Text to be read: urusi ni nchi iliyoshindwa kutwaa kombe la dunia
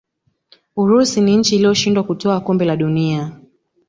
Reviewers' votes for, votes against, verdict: 2, 1, accepted